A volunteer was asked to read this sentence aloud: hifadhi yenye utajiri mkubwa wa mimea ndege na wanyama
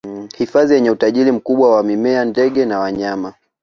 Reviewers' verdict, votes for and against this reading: accepted, 2, 0